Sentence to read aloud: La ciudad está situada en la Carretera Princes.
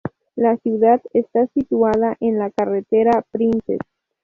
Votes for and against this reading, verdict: 4, 0, accepted